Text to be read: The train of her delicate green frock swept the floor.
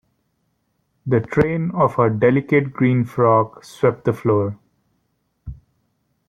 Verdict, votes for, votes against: rejected, 1, 2